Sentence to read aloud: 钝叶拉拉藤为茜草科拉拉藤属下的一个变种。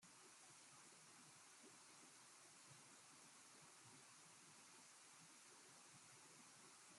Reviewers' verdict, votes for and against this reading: rejected, 0, 2